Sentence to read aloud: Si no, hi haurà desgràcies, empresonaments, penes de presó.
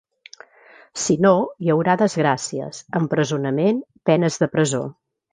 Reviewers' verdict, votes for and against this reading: rejected, 0, 2